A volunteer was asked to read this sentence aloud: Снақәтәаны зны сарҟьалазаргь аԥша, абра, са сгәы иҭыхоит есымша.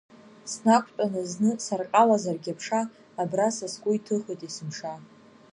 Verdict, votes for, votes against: accepted, 2, 0